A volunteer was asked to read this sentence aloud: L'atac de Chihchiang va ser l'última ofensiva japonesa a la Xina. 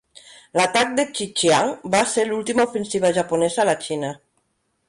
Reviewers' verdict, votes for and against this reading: rejected, 1, 2